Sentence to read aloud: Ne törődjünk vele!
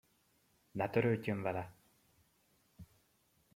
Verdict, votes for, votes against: rejected, 0, 2